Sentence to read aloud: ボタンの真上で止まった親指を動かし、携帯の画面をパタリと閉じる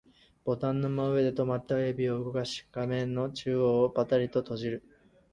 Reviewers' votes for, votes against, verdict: 0, 4, rejected